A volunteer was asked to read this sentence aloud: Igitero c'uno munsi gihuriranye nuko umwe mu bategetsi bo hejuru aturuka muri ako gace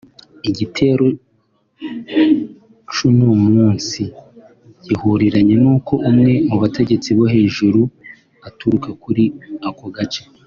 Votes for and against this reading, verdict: 1, 2, rejected